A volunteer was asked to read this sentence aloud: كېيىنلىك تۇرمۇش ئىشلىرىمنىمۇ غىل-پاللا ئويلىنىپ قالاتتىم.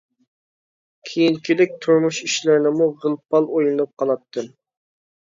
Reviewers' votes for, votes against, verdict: 0, 2, rejected